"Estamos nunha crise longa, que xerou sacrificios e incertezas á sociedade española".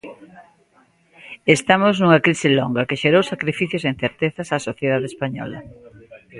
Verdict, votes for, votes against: accepted, 2, 0